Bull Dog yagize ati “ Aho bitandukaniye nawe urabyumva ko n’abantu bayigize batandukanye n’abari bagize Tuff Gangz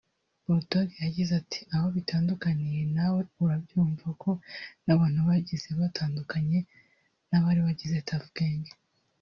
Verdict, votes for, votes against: rejected, 1, 2